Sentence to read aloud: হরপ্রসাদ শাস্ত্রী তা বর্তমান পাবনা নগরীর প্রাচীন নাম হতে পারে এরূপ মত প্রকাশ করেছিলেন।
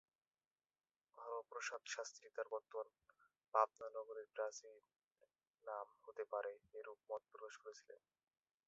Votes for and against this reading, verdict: 0, 3, rejected